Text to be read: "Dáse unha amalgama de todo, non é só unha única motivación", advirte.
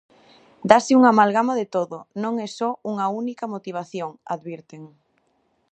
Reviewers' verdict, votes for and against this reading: rejected, 0, 2